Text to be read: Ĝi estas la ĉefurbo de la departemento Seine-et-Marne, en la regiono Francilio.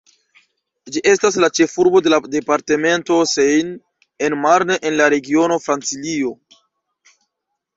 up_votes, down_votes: 0, 2